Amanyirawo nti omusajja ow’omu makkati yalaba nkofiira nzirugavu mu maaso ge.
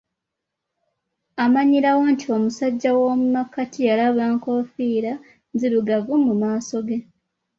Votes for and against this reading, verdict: 0, 2, rejected